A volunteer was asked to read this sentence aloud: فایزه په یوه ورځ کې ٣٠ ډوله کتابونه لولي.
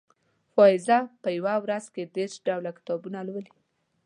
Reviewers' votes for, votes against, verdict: 0, 2, rejected